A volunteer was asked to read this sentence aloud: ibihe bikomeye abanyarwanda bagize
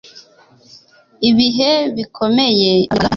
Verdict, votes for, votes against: rejected, 1, 2